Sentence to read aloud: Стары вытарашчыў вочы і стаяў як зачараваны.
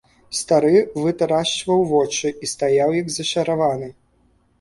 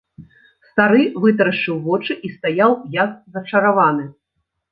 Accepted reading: second